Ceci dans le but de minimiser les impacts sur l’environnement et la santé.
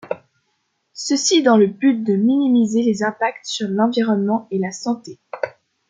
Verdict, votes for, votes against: rejected, 1, 2